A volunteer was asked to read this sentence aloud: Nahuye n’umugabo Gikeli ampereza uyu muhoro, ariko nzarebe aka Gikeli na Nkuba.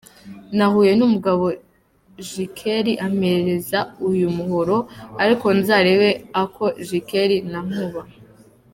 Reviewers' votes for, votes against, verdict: 2, 0, accepted